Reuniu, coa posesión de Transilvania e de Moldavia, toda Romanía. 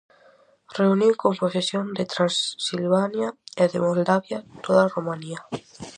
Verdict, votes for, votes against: rejected, 2, 2